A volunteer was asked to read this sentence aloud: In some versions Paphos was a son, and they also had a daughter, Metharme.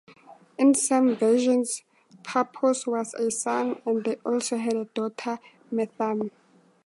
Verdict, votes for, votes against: accepted, 2, 0